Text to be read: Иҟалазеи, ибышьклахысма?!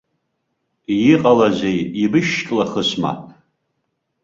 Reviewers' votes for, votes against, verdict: 0, 2, rejected